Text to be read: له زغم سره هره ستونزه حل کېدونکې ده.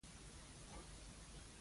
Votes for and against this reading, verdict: 0, 2, rejected